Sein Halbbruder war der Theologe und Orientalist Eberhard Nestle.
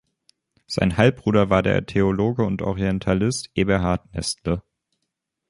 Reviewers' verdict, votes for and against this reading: accepted, 2, 0